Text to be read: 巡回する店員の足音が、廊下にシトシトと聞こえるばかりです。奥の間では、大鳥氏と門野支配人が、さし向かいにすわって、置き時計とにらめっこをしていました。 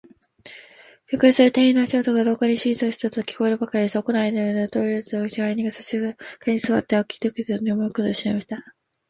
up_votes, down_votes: 3, 11